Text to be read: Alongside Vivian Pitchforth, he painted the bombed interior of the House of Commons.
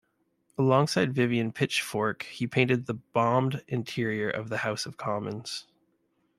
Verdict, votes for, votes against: rejected, 1, 2